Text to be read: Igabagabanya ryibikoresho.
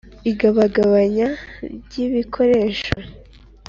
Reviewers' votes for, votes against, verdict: 3, 0, accepted